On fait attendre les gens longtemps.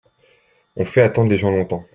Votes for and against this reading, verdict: 2, 0, accepted